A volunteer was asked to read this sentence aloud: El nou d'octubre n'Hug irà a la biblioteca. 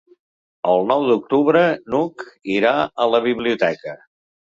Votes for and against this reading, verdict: 3, 0, accepted